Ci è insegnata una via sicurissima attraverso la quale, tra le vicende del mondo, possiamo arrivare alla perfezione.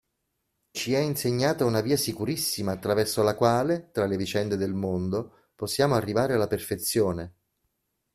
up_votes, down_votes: 2, 0